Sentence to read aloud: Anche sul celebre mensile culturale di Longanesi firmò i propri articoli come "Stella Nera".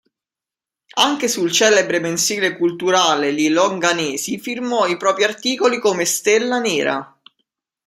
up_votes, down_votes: 0, 2